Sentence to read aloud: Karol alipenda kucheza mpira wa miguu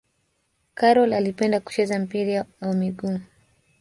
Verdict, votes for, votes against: accepted, 2, 0